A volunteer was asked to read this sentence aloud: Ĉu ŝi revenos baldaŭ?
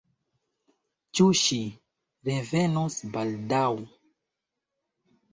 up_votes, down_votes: 1, 2